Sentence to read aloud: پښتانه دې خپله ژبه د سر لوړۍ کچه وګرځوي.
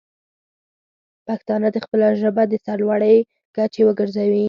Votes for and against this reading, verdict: 6, 0, accepted